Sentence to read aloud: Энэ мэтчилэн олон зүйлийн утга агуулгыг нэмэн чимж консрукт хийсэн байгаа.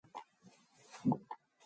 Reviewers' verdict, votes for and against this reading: rejected, 4, 4